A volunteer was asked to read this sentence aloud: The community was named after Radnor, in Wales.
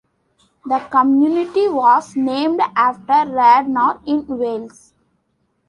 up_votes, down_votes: 2, 1